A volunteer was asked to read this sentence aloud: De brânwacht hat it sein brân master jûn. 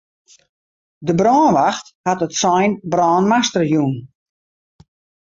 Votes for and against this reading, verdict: 2, 0, accepted